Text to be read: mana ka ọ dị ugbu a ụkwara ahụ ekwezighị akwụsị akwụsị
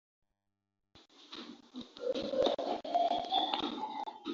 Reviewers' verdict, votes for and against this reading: rejected, 0, 2